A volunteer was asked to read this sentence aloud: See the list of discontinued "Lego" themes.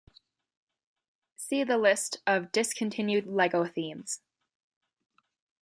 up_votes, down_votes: 2, 0